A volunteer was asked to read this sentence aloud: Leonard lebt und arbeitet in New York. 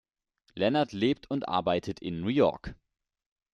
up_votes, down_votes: 1, 2